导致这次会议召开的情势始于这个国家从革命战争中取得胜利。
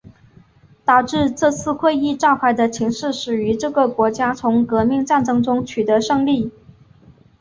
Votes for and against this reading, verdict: 4, 0, accepted